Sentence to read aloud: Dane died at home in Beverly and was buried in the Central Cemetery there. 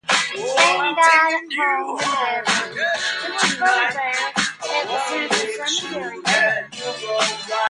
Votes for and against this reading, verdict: 0, 2, rejected